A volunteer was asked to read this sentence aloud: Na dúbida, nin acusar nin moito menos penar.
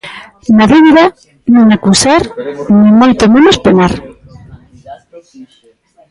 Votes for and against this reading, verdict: 2, 0, accepted